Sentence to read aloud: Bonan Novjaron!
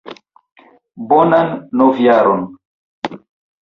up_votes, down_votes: 3, 0